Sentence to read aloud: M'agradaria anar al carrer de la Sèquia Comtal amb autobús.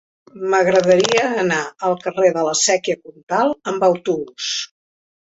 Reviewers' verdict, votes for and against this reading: accepted, 2, 1